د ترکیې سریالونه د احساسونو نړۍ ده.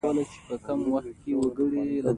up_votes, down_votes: 0, 2